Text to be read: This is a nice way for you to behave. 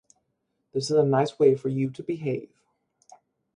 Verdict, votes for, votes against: accepted, 6, 2